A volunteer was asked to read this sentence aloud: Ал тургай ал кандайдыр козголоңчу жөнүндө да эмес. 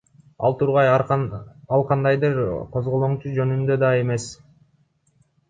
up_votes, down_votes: 2, 1